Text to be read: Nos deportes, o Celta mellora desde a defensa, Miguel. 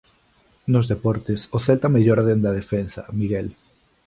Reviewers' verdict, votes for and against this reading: rejected, 0, 2